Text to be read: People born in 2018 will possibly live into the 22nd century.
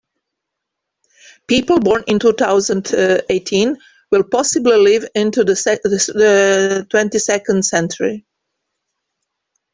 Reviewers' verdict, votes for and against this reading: rejected, 0, 2